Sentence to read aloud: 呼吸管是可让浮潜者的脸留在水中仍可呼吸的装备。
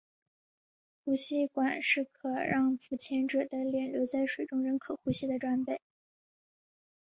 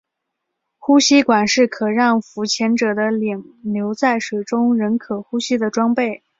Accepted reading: second